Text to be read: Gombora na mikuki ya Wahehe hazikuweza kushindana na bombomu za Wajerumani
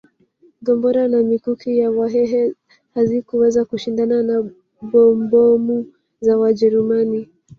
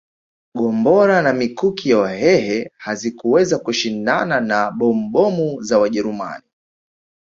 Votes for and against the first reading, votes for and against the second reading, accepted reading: 1, 2, 2, 0, second